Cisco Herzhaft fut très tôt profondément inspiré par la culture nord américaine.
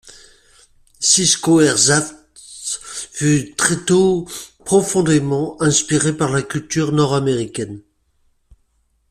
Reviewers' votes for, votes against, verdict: 2, 0, accepted